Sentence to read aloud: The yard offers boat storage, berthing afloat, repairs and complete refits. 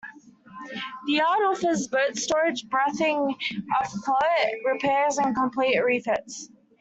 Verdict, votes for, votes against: accepted, 2, 1